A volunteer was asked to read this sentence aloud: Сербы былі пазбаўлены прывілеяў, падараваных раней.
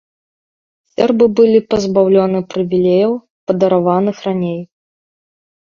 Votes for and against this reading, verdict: 1, 2, rejected